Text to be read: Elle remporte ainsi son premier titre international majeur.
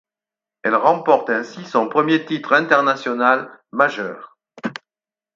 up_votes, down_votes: 4, 0